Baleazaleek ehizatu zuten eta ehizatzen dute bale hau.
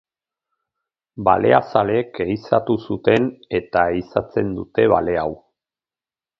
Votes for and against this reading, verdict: 4, 0, accepted